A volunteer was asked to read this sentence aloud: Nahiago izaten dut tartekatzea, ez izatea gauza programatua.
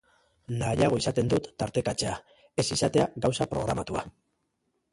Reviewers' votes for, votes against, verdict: 3, 1, accepted